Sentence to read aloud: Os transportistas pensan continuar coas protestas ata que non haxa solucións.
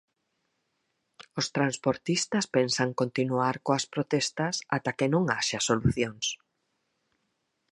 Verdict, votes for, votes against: accepted, 4, 0